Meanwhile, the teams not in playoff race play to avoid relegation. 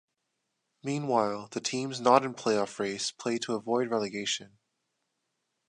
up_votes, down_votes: 2, 0